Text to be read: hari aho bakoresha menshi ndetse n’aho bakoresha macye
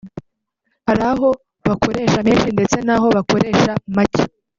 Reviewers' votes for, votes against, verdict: 2, 0, accepted